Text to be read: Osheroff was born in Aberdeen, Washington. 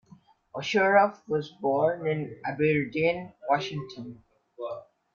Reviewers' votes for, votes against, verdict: 1, 2, rejected